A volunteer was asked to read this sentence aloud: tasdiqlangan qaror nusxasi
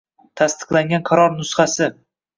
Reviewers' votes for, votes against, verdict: 2, 0, accepted